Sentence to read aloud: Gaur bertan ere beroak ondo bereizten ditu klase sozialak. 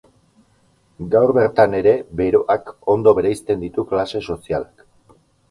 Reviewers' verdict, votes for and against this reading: accepted, 8, 0